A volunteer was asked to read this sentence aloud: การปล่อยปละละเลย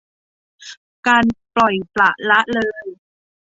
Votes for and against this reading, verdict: 2, 0, accepted